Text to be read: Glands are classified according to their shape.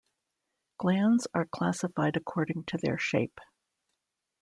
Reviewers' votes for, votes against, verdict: 2, 0, accepted